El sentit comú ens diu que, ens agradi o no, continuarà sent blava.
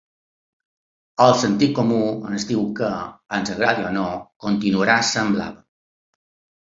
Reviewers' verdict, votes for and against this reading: accepted, 2, 0